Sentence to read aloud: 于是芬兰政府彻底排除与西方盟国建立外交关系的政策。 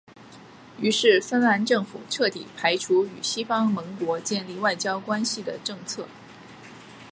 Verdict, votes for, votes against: accepted, 2, 0